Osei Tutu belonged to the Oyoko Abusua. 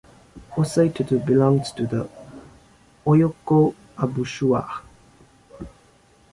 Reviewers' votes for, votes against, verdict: 1, 2, rejected